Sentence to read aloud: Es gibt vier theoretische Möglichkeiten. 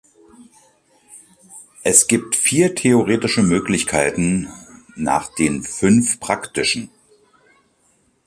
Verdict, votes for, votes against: rejected, 0, 2